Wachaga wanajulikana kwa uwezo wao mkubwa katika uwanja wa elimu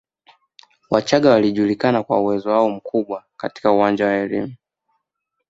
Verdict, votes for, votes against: accepted, 2, 0